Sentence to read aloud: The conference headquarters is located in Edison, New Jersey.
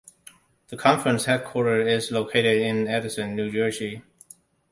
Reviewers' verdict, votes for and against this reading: accepted, 2, 1